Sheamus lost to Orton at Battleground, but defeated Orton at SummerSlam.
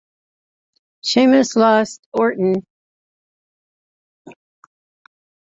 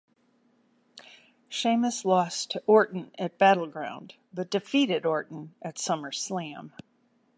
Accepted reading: second